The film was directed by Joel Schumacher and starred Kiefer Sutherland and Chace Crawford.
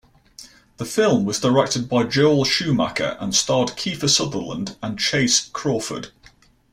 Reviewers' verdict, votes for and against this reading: accepted, 2, 0